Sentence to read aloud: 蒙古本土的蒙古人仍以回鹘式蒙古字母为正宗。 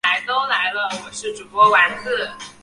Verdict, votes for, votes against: rejected, 0, 2